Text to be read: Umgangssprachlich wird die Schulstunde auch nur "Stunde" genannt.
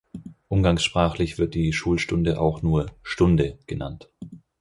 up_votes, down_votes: 4, 0